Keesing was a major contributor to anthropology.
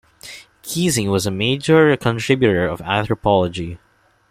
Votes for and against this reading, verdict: 2, 1, accepted